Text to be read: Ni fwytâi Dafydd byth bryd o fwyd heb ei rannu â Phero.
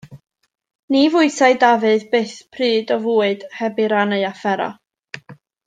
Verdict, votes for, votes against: rejected, 1, 2